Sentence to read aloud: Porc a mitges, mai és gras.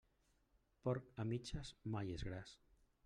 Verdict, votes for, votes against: rejected, 0, 2